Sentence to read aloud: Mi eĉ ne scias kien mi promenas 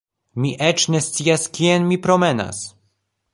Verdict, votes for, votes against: accepted, 2, 0